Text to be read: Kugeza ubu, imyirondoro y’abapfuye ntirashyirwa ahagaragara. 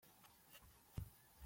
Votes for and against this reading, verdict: 0, 3, rejected